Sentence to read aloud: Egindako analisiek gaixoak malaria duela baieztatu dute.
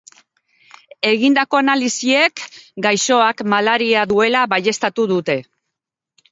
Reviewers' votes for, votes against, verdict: 2, 0, accepted